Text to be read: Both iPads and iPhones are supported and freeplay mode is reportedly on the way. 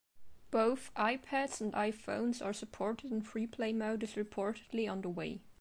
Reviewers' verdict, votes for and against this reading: accepted, 2, 0